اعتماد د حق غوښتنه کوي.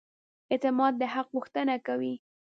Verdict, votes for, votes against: accepted, 2, 0